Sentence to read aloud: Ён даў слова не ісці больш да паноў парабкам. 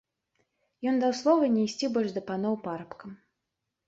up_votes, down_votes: 2, 0